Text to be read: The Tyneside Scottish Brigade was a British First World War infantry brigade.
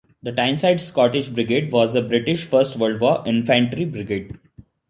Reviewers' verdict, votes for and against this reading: accepted, 2, 0